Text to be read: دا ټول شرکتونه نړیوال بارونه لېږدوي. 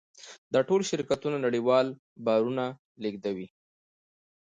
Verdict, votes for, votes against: rejected, 1, 2